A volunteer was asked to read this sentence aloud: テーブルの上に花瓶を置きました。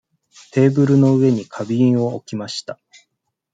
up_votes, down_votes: 2, 0